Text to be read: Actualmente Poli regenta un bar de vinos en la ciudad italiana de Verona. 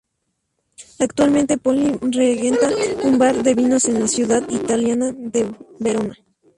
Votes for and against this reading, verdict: 2, 0, accepted